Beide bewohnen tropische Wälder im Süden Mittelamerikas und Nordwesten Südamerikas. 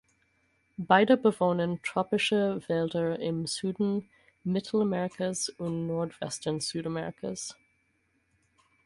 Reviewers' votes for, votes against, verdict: 4, 0, accepted